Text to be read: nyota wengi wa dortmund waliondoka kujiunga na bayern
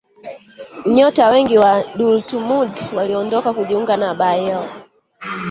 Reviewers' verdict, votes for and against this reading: rejected, 2, 3